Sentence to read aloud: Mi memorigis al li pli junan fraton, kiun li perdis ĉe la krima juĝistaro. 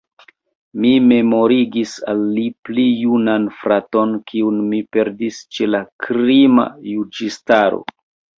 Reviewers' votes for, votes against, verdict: 2, 0, accepted